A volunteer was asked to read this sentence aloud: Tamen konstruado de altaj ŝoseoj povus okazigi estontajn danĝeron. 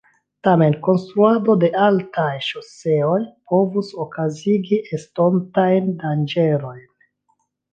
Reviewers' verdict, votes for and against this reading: accepted, 2, 0